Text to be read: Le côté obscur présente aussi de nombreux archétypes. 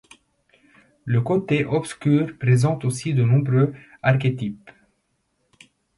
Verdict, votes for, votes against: accepted, 2, 0